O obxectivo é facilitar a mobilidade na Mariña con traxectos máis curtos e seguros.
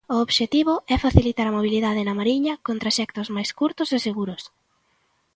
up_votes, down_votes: 2, 0